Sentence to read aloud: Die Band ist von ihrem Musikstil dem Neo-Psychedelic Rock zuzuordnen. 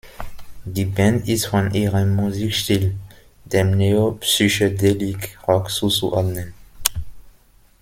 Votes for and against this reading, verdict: 0, 2, rejected